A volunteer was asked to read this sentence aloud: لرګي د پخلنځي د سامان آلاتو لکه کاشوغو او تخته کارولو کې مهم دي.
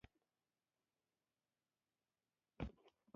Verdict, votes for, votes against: rejected, 0, 2